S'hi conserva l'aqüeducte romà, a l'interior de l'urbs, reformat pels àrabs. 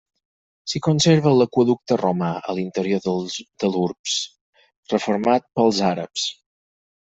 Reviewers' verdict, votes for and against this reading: rejected, 0, 4